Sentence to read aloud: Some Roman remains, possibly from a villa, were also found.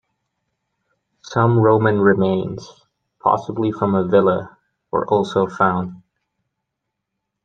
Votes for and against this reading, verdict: 2, 0, accepted